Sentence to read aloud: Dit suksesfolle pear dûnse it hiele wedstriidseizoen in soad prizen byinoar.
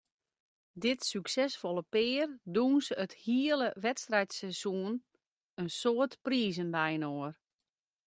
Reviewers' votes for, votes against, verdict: 1, 2, rejected